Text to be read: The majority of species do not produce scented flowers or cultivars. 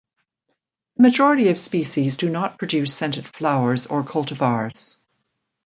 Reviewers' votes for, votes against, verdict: 2, 0, accepted